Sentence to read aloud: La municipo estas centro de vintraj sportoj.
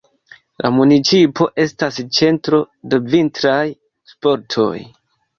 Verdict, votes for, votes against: rejected, 0, 2